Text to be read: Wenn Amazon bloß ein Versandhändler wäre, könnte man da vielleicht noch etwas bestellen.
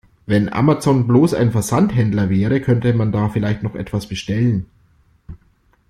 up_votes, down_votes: 2, 0